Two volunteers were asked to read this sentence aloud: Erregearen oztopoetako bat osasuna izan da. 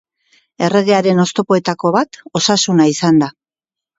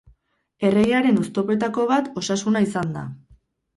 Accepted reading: first